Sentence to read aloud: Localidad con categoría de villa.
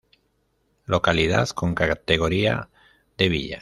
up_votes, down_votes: 1, 2